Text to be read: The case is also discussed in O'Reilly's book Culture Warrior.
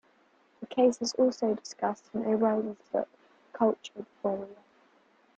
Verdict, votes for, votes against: accepted, 2, 1